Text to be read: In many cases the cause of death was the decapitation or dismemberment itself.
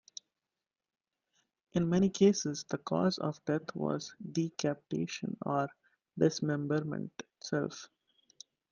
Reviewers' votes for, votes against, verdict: 1, 2, rejected